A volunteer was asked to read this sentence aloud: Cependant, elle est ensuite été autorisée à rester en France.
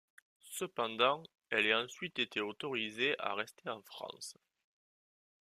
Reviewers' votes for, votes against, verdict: 2, 0, accepted